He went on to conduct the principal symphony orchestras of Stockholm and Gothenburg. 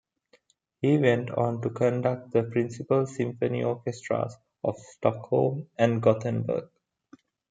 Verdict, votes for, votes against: accepted, 2, 0